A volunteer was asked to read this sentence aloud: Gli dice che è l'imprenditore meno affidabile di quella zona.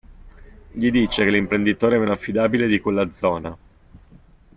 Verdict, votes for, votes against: rejected, 1, 2